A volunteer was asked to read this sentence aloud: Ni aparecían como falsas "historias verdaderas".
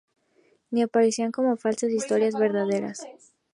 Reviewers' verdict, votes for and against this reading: rejected, 0, 2